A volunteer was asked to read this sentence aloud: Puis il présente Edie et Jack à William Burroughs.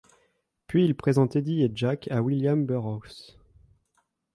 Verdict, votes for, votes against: accepted, 2, 0